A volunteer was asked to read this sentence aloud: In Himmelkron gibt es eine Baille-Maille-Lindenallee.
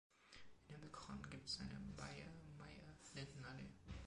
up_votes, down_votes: 2, 0